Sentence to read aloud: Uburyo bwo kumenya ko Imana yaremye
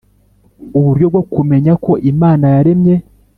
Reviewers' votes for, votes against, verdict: 3, 0, accepted